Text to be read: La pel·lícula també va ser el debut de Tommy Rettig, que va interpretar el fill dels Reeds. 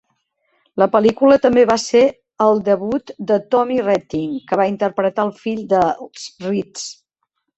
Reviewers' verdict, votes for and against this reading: rejected, 1, 2